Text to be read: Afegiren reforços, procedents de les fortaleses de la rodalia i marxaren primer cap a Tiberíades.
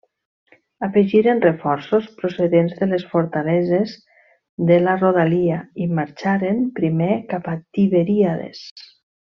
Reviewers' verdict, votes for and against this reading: accepted, 2, 0